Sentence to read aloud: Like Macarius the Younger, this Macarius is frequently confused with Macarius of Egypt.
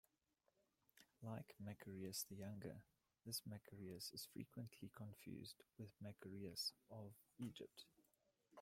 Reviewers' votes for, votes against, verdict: 1, 2, rejected